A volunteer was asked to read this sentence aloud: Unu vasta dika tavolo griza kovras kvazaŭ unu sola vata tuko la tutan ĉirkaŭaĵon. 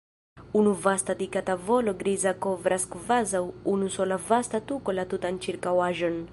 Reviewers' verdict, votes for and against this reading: rejected, 0, 2